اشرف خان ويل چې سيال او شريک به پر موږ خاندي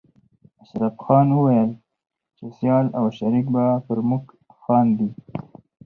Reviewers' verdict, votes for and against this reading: accepted, 4, 0